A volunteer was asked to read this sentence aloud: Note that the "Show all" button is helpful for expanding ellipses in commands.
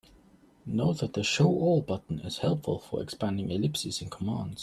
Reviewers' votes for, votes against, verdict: 2, 0, accepted